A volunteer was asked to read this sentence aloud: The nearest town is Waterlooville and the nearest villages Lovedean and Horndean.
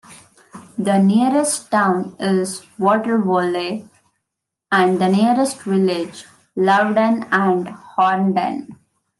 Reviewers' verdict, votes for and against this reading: rejected, 0, 2